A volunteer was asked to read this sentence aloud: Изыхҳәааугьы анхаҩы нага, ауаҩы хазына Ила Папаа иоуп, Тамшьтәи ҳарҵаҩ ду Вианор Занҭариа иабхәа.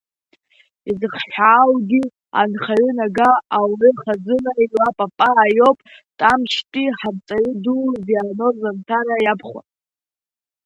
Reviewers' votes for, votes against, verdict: 0, 2, rejected